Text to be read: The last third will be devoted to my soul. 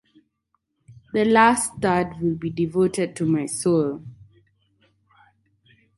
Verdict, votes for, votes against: accepted, 4, 0